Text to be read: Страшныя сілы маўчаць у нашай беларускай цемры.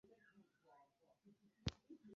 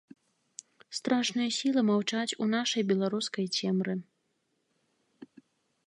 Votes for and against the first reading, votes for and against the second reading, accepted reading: 0, 2, 2, 0, second